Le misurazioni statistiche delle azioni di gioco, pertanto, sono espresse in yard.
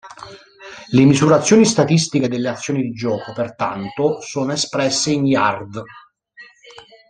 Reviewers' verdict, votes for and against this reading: rejected, 1, 2